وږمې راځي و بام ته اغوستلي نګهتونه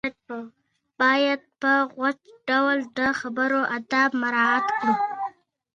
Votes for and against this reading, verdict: 2, 1, accepted